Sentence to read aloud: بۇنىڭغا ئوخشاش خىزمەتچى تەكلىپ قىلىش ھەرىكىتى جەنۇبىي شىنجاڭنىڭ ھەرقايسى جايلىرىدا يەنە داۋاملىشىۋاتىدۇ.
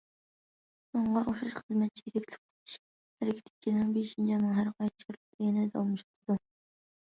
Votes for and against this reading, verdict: 0, 2, rejected